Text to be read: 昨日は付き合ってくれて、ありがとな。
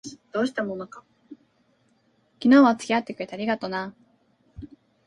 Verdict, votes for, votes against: rejected, 0, 2